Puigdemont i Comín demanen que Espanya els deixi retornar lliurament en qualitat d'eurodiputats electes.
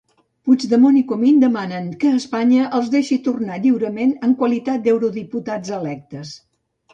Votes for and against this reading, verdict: 2, 3, rejected